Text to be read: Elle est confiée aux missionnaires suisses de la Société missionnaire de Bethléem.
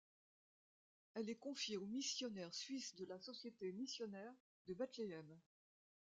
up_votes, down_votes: 2, 1